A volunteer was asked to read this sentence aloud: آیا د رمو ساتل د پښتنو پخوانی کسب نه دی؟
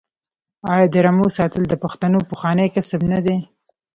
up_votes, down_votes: 2, 0